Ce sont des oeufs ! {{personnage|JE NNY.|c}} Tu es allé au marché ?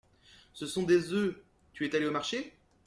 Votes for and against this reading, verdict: 1, 2, rejected